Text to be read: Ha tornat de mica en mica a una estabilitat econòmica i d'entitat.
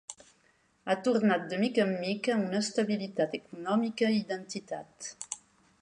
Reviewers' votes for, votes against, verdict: 2, 0, accepted